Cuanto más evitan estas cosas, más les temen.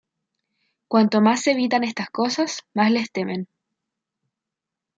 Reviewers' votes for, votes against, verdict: 2, 0, accepted